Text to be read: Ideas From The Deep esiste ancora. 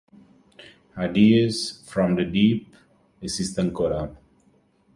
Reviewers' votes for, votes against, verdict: 2, 0, accepted